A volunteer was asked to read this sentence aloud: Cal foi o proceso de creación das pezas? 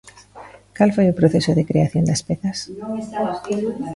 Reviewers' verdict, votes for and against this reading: rejected, 0, 2